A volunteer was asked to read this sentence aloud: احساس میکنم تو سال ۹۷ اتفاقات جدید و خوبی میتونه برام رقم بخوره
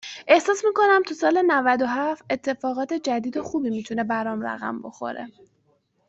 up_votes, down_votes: 0, 2